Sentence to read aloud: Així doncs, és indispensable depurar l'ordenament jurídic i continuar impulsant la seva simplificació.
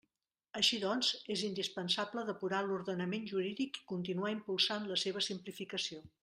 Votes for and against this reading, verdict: 2, 0, accepted